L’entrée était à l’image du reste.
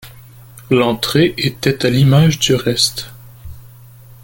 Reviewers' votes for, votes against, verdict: 2, 0, accepted